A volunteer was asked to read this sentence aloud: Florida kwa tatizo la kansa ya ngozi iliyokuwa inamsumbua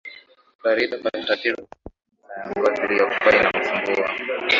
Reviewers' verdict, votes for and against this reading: rejected, 0, 5